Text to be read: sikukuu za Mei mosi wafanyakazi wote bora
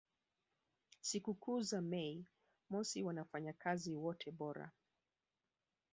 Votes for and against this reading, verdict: 0, 2, rejected